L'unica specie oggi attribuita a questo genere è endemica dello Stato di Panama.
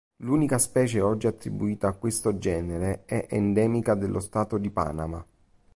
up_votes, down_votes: 2, 0